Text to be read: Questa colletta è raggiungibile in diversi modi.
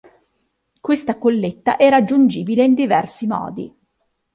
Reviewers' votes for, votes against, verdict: 2, 0, accepted